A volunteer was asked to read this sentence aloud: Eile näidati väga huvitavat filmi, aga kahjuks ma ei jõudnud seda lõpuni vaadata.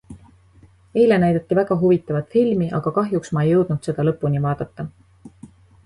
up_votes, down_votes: 2, 0